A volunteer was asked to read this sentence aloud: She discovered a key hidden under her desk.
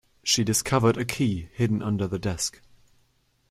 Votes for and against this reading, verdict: 2, 1, accepted